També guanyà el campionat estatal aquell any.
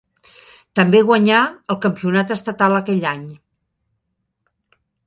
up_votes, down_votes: 3, 0